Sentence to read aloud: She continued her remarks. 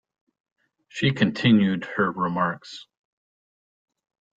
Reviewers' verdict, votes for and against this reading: accepted, 2, 0